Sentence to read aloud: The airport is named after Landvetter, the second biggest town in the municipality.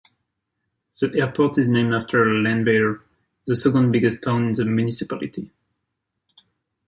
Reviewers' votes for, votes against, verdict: 1, 2, rejected